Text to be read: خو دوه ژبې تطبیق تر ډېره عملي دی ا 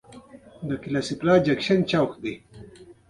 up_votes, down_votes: 1, 2